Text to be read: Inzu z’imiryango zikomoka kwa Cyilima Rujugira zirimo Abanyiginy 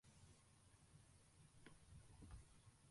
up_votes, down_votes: 0, 2